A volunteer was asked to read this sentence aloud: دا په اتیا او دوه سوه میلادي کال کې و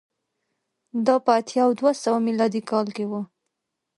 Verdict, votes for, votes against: accepted, 2, 0